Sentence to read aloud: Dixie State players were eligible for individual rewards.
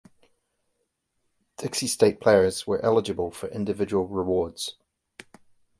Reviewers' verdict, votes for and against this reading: accepted, 2, 0